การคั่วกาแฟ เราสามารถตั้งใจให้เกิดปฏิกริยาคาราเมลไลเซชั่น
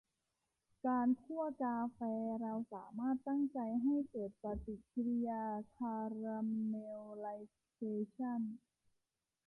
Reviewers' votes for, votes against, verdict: 2, 0, accepted